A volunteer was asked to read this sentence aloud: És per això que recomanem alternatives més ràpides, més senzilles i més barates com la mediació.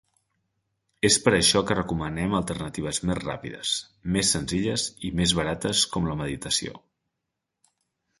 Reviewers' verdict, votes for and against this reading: rejected, 1, 3